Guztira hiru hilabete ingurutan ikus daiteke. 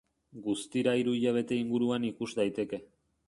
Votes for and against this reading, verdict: 0, 2, rejected